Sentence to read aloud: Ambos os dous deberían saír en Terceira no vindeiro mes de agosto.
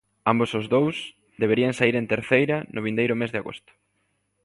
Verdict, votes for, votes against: accepted, 2, 0